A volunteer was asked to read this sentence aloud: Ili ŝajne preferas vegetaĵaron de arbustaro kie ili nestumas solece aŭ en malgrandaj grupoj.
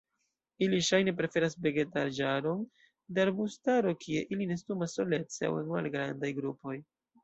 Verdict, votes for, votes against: accepted, 2, 0